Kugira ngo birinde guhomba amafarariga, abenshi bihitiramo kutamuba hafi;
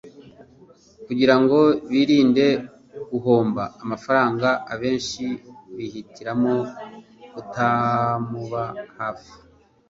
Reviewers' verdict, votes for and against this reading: rejected, 1, 2